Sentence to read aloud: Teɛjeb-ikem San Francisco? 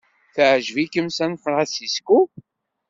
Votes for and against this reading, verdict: 2, 0, accepted